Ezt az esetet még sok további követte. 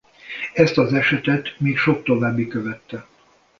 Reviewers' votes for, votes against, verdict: 2, 0, accepted